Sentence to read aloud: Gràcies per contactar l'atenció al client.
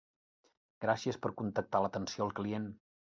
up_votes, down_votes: 4, 0